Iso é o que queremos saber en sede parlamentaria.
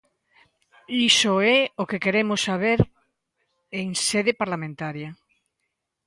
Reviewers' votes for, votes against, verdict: 2, 0, accepted